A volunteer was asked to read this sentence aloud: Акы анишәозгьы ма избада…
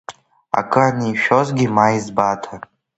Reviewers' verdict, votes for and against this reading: rejected, 0, 2